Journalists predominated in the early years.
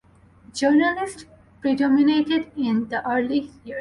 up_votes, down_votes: 2, 0